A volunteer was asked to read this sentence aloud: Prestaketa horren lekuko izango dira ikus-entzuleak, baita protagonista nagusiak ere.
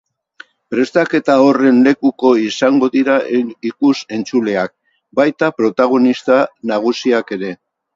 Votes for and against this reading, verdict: 2, 2, rejected